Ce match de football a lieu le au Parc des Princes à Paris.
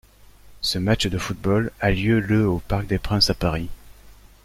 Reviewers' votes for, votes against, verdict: 1, 2, rejected